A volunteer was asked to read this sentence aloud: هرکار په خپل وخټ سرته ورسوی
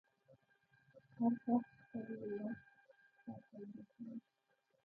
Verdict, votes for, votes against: rejected, 1, 2